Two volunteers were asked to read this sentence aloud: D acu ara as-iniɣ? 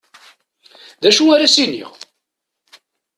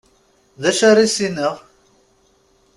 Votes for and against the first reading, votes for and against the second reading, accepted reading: 2, 0, 0, 2, first